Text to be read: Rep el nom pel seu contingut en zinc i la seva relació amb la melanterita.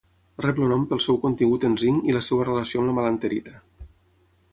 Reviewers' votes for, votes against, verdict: 6, 0, accepted